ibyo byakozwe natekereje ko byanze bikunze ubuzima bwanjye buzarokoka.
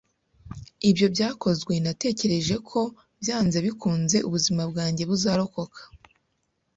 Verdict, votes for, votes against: accepted, 2, 0